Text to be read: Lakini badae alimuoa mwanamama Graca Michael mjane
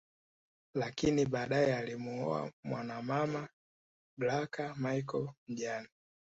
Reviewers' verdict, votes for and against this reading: accepted, 2, 0